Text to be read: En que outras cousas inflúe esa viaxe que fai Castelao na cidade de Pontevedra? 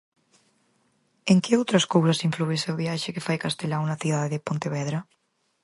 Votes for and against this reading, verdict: 0, 4, rejected